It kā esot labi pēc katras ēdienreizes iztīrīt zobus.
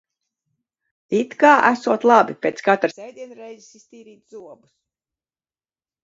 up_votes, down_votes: 1, 2